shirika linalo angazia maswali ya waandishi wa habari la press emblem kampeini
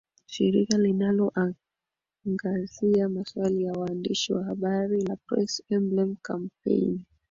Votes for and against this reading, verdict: 5, 2, accepted